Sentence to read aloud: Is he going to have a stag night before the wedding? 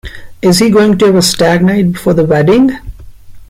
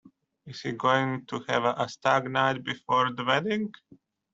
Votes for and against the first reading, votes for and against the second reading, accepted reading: 2, 0, 1, 2, first